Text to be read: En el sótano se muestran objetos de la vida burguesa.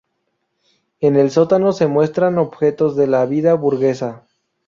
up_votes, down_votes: 0, 2